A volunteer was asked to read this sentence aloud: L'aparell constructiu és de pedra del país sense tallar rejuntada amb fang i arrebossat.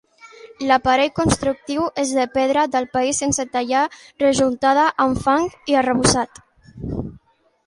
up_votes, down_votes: 3, 0